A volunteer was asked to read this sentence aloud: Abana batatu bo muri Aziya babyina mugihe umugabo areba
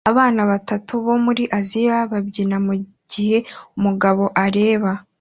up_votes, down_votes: 2, 0